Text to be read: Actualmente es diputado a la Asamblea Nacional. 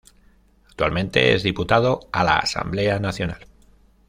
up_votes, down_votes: 0, 2